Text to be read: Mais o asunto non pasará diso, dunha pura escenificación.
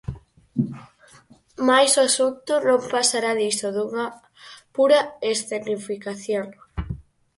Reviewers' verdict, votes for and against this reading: rejected, 2, 2